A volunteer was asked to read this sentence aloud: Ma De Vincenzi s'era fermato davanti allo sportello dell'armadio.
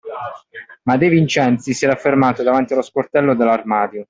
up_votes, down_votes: 2, 0